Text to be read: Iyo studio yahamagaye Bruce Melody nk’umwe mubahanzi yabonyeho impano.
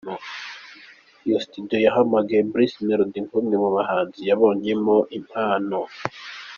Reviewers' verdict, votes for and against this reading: accepted, 2, 0